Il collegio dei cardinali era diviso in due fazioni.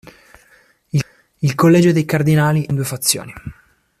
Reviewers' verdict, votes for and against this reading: rejected, 1, 2